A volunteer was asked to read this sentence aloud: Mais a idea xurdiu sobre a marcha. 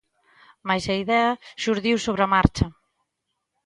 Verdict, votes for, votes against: accepted, 2, 0